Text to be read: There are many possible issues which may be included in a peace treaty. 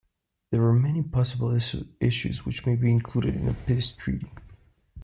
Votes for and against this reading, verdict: 0, 2, rejected